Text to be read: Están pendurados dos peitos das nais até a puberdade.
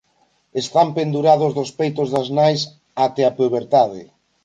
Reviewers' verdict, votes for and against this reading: accepted, 2, 0